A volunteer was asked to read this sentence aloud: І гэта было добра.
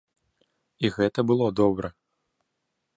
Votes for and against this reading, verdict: 2, 0, accepted